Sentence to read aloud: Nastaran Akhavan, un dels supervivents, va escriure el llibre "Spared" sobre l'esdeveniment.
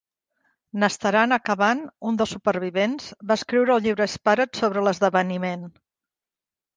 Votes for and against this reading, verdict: 2, 0, accepted